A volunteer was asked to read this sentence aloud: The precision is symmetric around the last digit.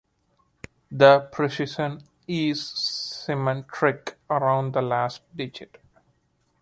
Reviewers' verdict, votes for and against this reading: rejected, 1, 2